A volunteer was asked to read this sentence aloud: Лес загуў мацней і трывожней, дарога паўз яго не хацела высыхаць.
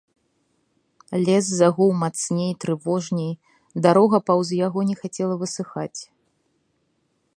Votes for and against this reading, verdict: 2, 0, accepted